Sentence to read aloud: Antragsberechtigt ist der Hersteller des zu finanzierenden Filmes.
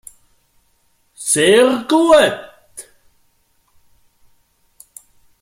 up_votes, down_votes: 0, 2